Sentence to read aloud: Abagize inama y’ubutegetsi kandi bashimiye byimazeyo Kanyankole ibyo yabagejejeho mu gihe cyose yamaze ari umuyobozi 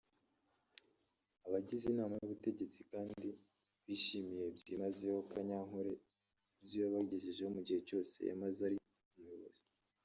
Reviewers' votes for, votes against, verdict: 1, 2, rejected